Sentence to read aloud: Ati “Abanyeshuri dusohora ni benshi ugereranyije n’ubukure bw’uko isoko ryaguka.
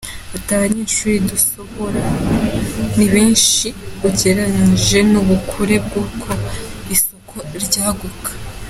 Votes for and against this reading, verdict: 2, 0, accepted